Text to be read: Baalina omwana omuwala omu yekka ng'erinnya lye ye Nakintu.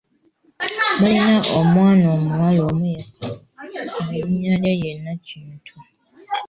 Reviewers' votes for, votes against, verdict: 4, 3, accepted